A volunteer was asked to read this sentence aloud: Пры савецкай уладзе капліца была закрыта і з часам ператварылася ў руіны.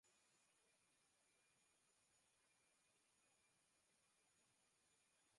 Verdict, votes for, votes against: rejected, 0, 2